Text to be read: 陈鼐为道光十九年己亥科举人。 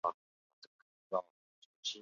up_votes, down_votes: 1, 3